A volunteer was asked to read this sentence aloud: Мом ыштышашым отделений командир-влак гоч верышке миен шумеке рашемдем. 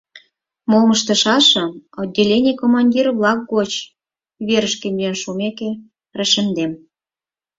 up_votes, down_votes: 4, 0